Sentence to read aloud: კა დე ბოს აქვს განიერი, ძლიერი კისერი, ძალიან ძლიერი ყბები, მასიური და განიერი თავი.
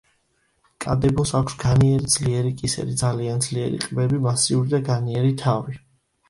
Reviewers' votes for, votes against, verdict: 2, 0, accepted